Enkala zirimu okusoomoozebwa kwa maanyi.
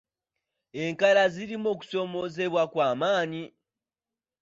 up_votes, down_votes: 2, 0